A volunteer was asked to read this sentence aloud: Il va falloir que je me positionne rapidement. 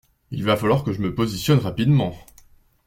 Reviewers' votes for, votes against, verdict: 2, 0, accepted